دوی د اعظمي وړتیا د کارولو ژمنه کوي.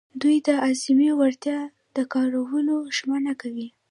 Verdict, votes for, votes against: rejected, 0, 2